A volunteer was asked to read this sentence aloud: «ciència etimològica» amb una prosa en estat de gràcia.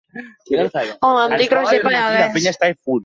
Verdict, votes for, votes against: rejected, 0, 2